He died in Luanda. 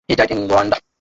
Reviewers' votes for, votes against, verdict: 0, 2, rejected